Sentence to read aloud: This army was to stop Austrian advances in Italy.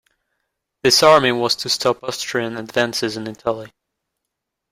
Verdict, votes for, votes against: rejected, 1, 2